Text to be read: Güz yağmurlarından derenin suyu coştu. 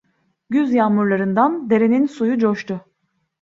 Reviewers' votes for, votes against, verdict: 2, 0, accepted